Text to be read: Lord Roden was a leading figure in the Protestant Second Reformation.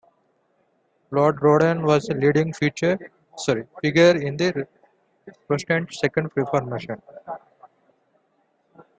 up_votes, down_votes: 0, 3